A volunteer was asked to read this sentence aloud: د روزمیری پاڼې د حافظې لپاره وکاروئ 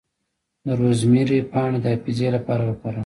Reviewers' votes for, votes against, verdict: 1, 2, rejected